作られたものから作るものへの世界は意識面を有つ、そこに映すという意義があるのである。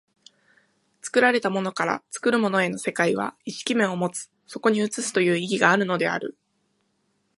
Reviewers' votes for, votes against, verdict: 2, 0, accepted